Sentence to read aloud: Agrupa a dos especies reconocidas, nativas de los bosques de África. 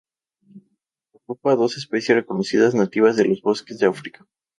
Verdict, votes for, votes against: rejected, 0, 2